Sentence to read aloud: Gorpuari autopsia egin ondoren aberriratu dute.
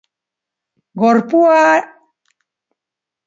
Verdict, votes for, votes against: rejected, 0, 3